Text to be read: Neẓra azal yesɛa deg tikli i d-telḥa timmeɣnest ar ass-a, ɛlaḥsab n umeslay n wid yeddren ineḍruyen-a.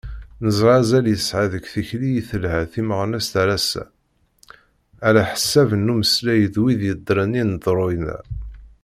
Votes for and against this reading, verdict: 1, 2, rejected